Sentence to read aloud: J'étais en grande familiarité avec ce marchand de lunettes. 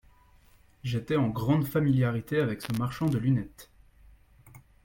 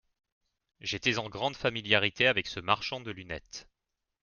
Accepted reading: second